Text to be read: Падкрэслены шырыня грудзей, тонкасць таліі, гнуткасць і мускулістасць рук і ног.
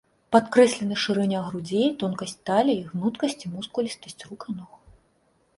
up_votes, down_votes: 2, 0